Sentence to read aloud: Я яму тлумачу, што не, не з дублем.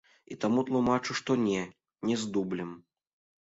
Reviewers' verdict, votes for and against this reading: rejected, 0, 2